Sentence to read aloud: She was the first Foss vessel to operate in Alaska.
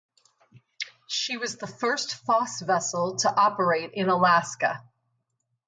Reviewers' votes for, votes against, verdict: 4, 0, accepted